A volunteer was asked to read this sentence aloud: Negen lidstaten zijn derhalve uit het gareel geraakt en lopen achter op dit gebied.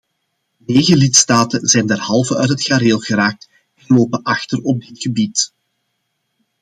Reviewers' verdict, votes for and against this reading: accepted, 2, 0